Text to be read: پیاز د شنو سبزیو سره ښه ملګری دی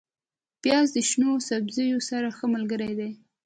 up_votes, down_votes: 1, 2